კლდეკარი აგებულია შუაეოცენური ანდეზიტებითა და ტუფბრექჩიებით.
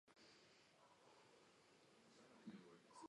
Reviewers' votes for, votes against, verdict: 0, 2, rejected